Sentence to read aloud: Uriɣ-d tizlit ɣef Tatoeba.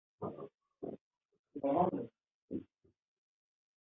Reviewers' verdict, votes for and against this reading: rejected, 0, 2